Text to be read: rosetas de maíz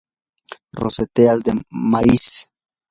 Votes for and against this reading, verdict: 0, 2, rejected